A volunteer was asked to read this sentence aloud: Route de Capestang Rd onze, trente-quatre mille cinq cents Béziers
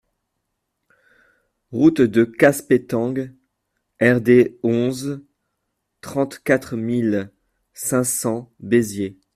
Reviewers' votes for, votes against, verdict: 0, 2, rejected